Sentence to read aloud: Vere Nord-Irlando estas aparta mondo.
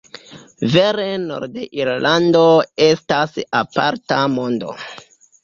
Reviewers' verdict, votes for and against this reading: rejected, 1, 2